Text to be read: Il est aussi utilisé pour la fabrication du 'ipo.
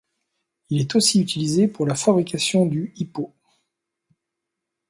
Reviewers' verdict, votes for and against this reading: accepted, 2, 0